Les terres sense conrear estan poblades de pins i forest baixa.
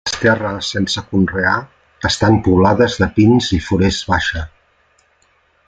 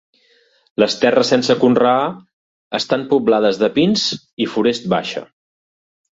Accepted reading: second